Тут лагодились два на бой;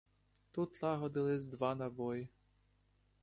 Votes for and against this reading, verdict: 2, 1, accepted